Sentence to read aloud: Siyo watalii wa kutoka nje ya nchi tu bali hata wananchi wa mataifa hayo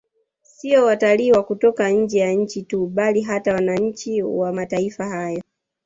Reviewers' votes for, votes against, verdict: 0, 2, rejected